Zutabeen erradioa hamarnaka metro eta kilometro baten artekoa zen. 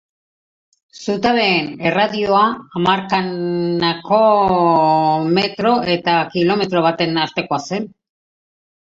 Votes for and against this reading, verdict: 0, 2, rejected